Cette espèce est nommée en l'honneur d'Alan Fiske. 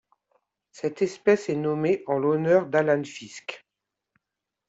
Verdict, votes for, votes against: accepted, 2, 0